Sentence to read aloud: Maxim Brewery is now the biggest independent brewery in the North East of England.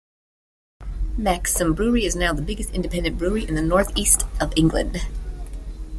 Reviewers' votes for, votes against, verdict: 2, 1, accepted